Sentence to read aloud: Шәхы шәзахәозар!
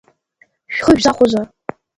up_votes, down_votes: 2, 1